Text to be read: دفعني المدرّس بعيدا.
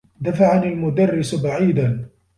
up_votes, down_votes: 1, 2